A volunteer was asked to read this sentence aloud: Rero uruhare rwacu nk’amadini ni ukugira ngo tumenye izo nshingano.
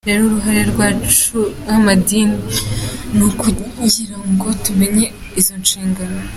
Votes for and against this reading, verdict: 3, 0, accepted